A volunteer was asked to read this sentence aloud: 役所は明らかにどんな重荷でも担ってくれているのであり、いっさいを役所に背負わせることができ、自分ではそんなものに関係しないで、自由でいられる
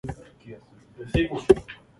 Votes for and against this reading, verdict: 0, 3, rejected